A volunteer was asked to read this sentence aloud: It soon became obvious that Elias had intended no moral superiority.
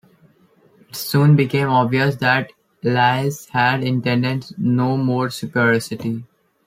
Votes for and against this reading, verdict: 0, 2, rejected